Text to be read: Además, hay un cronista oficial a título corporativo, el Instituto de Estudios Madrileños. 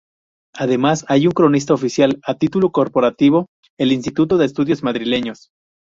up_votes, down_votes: 0, 2